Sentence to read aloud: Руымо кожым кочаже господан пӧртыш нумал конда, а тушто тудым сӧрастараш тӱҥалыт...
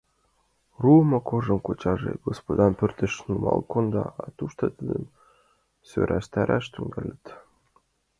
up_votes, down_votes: 0, 2